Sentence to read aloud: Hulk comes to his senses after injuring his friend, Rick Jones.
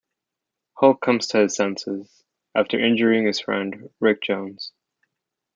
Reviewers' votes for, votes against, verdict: 0, 2, rejected